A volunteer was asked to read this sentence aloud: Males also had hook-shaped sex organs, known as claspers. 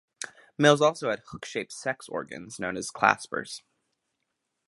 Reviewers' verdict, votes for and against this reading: accepted, 2, 0